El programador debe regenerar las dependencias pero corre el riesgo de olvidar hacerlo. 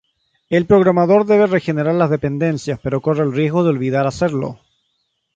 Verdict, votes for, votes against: rejected, 0, 3